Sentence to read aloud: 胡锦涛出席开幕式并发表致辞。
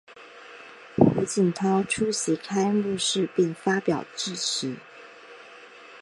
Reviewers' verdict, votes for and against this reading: accepted, 3, 0